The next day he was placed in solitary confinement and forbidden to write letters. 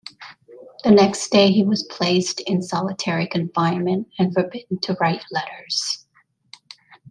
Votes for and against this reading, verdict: 2, 0, accepted